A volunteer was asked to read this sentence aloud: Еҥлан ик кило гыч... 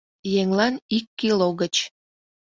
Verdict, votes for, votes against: accepted, 2, 0